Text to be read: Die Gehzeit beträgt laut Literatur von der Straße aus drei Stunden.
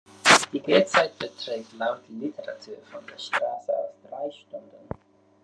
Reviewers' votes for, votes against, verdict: 1, 2, rejected